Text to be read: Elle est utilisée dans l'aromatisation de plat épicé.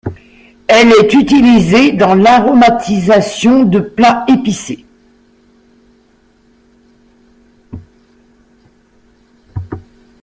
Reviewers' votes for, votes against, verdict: 1, 2, rejected